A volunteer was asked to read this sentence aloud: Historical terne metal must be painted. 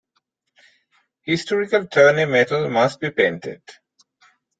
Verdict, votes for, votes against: rejected, 0, 2